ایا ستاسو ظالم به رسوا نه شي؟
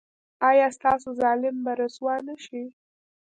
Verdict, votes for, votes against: rejected, 0, 2